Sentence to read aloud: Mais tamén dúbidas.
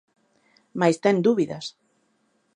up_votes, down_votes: 0, 2